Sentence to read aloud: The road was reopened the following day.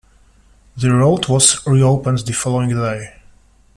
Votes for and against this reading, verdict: 1, 2, rejected